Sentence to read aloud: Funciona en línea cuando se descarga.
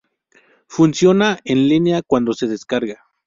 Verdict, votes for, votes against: rejected, 2, 2